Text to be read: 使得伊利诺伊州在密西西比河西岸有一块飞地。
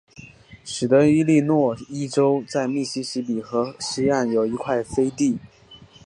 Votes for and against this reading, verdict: 2, 1, accepted